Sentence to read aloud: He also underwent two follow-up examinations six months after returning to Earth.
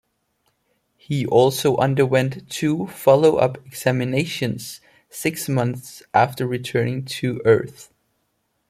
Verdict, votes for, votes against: accepted, 2, 0